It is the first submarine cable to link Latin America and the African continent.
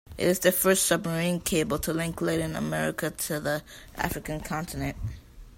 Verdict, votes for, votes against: rejected, 0, 2